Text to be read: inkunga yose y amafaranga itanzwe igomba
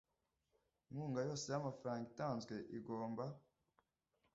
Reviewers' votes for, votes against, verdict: 2, 0, accepted